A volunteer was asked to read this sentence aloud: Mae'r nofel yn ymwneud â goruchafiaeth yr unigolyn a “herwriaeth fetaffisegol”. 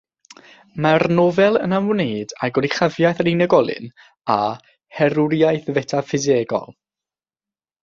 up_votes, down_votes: 3, 0